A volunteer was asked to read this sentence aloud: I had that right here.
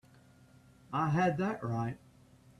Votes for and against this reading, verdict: 0, 2, rejected